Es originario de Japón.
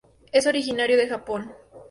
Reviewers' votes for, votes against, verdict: 2, 0, accepted